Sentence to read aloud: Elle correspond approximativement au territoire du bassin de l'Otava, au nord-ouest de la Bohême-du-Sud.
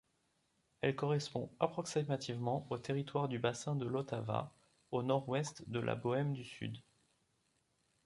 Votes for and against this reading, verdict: 0, 2, rejected